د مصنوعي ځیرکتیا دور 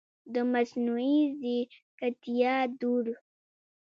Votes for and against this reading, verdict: 4, 0, accepted